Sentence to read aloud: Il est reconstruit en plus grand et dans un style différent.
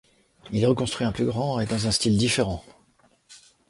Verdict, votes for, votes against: rejected, 1, 2